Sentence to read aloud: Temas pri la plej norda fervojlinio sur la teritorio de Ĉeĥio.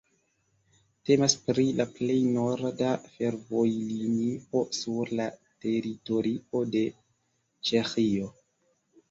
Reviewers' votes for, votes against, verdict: 0, 2, rejected